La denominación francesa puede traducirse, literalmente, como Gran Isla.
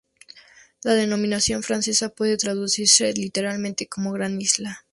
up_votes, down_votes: 2, 0